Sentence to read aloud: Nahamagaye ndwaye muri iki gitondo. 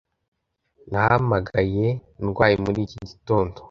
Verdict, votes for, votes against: accepted, 2, 0